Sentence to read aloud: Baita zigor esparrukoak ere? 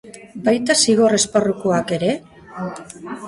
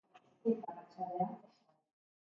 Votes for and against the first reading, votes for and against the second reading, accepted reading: 4, 0, 0, 3, first